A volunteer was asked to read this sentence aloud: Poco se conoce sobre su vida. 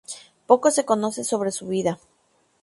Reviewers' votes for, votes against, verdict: 2, 0, accepted